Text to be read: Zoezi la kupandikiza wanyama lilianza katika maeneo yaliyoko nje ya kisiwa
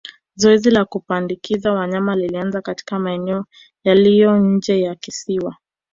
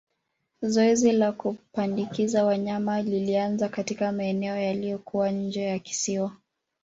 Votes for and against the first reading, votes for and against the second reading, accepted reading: 1, 2, 2, 0, second